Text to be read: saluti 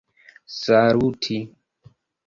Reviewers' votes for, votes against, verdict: 1, 2, rejected